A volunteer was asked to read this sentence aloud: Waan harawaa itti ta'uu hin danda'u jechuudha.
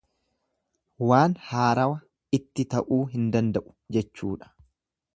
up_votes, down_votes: 1, 2